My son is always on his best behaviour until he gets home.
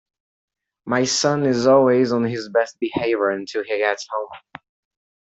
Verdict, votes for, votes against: accepted, 2, 0